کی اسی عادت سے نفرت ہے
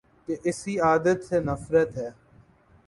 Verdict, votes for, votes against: accepted, 3, 0